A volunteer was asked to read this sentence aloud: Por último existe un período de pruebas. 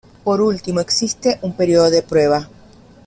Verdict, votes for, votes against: rejected, 1, 2